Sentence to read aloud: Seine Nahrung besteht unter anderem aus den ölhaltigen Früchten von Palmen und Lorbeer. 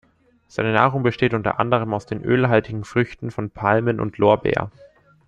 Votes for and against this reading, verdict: 2, 0, accepted